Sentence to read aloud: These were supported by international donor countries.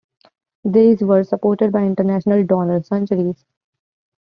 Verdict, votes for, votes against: rejected, 1, 2